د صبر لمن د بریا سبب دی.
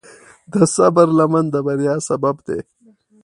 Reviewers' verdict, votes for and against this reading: accepted, 2, 0